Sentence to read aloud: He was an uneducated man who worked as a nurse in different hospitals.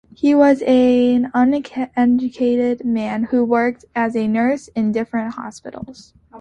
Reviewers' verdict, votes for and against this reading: rejected, 1, 3